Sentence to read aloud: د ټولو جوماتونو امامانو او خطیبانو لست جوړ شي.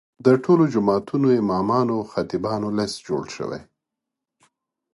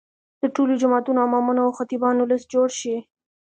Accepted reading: second